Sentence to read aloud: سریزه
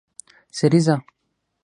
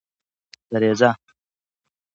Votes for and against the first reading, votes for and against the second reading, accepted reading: 3, 6, 2, 0, second